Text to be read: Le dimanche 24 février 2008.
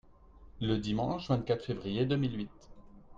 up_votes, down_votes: 0, 2